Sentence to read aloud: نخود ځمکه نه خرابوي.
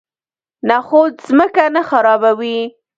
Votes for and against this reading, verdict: 1, 2, rejected